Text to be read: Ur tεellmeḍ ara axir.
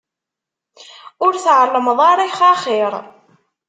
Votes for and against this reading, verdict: 0, 2, rejected